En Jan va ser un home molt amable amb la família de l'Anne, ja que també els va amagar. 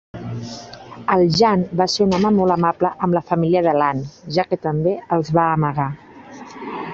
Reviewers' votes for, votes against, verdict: 2, 1, accepted